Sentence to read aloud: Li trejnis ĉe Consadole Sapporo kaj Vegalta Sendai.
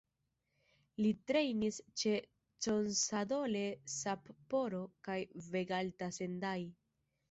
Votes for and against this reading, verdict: 1, 2, rejected